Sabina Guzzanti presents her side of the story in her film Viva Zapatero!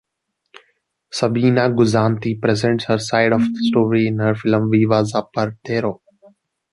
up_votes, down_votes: 0, 2